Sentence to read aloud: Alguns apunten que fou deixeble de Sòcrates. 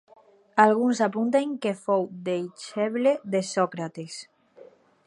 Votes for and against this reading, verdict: 2, 2, rejected